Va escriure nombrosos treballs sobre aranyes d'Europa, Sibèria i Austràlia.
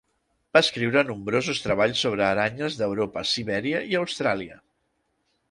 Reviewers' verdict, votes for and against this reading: accepted, 2, 0